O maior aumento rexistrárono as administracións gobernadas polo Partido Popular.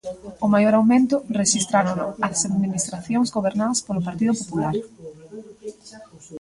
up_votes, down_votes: 0, 2